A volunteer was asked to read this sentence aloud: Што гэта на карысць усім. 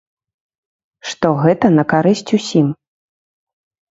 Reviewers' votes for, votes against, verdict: 2, 0, accepted